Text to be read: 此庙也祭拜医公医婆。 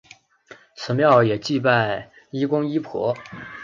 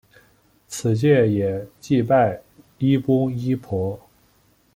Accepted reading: first